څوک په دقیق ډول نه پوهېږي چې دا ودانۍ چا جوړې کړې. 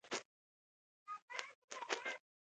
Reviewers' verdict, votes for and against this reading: rejected, 1, 2